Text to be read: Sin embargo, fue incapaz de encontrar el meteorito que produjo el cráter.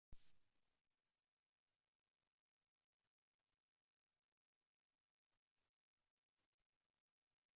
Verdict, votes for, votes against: rejected, 0, 2